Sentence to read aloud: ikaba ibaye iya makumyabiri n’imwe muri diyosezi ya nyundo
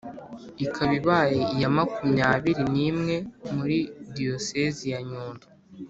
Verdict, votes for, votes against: accepted, 2, 0